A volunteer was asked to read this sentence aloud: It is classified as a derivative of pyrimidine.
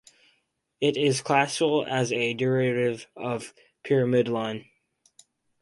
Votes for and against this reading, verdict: 0, 4, rejected